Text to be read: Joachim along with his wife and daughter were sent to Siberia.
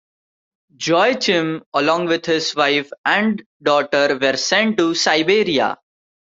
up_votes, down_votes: 0, 2